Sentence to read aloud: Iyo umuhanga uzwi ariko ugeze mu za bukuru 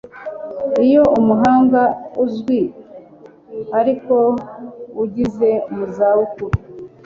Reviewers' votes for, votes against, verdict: 2, 1, accepted